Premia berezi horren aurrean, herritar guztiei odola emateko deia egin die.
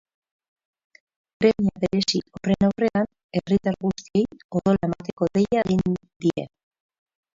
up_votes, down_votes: 0, 4